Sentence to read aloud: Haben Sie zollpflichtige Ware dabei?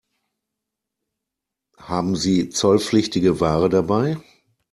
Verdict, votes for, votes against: accepted, 2, 0